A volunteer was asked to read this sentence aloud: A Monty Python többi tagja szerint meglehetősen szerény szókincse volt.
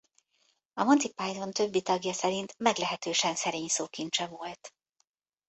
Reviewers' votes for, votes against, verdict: 0, 2, rejected